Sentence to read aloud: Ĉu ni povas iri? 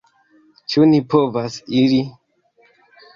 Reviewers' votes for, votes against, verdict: 3, 0, accepted